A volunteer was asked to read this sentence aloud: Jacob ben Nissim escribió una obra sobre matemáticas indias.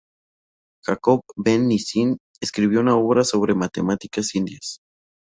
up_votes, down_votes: 2, 0